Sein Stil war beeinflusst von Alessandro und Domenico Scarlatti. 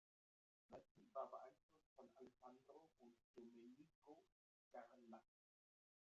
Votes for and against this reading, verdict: 0, 2, rejected